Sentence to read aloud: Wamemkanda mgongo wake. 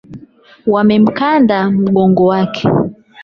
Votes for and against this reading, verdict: 0, 8, rejected